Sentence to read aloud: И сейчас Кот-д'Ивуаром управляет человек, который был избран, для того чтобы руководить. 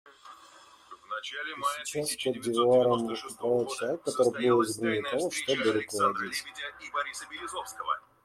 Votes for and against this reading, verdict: 0, 2, rejected